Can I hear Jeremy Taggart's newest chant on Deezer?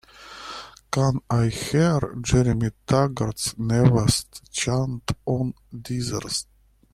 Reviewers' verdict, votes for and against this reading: rejected, 1, 2